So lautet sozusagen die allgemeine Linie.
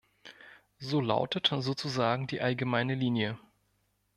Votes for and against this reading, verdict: 1, 2, rejected